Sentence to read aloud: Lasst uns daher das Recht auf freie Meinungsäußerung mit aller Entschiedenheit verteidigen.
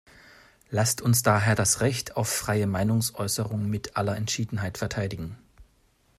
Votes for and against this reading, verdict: 2, 0, accepted